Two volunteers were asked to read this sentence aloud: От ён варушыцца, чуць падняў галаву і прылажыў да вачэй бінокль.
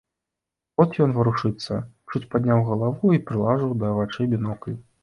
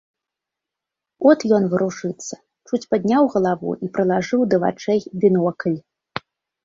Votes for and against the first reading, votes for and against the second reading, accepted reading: 1, 2, 3, 0, second